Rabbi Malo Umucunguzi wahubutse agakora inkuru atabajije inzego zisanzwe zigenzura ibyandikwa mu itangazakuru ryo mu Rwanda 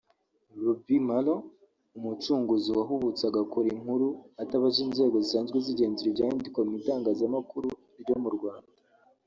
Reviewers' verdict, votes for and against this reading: rejected, 1, 2